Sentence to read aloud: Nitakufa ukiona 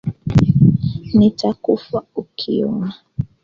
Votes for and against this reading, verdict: 2, 0, accepted